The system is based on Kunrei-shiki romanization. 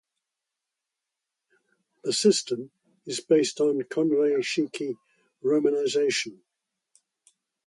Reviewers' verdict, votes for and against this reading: accepted, 2, 0